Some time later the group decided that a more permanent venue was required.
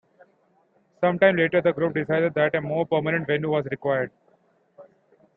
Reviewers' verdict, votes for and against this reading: accepted, 2, 1